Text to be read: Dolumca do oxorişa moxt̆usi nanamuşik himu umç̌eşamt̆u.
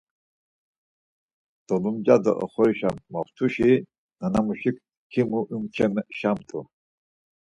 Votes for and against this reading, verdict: 0, 4, rejected